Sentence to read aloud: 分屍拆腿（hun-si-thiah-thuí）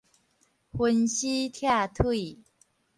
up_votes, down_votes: 4, 0